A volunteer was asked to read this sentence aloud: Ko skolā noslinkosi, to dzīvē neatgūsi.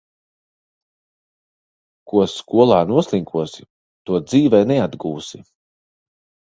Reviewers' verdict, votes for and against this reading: accepted, 2, 0